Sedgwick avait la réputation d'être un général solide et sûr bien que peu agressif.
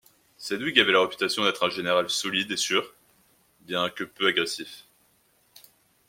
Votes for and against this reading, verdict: 2, 1, accepted